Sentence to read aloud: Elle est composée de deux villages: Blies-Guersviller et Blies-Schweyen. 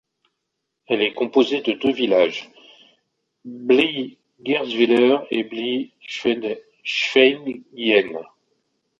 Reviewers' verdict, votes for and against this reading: rejected, 0, 2